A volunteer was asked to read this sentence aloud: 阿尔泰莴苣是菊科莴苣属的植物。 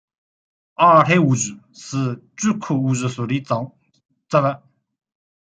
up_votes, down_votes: 0, 2